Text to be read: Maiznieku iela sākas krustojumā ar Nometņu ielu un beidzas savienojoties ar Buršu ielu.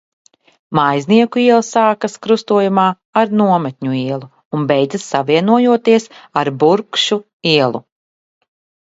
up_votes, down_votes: 0, 2